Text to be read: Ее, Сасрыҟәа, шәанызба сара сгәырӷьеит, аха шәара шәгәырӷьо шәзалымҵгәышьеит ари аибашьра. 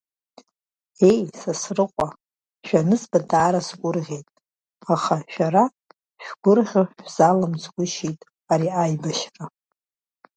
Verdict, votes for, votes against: rejected, 1, 2